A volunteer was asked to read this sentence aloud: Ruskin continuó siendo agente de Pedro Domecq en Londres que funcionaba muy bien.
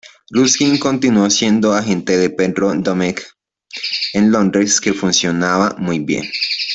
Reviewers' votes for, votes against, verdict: 0, 2, rejected